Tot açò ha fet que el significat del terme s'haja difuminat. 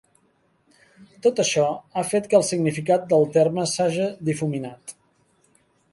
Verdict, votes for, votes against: rejected, 0, 2